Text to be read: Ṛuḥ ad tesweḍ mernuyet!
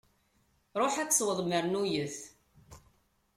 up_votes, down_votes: 2, 0